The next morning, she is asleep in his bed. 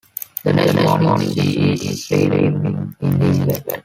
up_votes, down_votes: 0, 2